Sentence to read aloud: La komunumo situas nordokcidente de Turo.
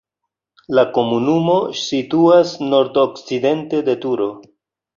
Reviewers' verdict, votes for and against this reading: accepted, 2, 1